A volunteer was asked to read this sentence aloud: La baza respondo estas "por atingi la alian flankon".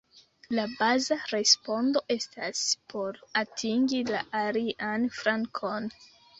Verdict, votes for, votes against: rejected, 1, 2